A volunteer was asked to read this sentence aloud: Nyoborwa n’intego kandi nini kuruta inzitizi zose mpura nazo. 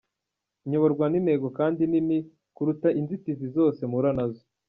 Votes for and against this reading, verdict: 2, 1, accepted